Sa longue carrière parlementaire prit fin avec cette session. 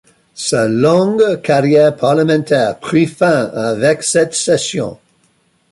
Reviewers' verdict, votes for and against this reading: accepted, 2, 0